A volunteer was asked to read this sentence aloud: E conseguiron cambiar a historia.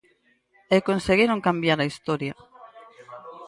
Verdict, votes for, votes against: rejected, 2, 4